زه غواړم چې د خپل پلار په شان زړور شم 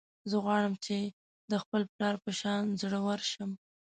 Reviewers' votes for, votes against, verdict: 2, 1, accepted